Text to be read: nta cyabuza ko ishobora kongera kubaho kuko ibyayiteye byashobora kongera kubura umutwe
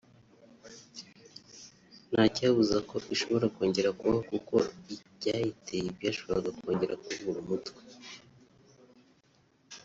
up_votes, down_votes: 0, 2